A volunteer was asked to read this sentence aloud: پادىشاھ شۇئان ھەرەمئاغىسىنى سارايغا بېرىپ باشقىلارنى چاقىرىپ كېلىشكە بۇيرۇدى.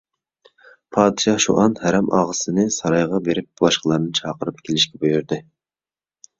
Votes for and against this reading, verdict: 2, 0, accepted